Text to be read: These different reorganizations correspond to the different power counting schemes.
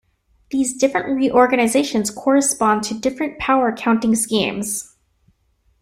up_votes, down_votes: 0, 2